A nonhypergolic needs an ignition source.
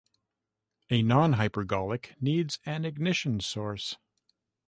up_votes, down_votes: 2, 1